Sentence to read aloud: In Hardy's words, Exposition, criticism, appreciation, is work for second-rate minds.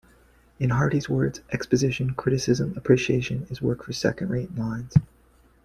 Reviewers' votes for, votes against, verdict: 2, 1, accepted